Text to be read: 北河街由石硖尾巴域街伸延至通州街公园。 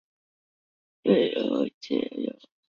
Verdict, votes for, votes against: rejected, 1, 2